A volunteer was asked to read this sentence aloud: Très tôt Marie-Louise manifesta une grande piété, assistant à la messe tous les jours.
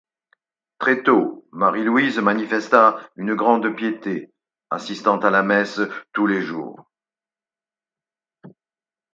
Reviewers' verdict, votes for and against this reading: accepted, 4, 0